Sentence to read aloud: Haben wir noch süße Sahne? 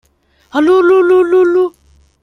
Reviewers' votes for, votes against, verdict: 0, 2, rejected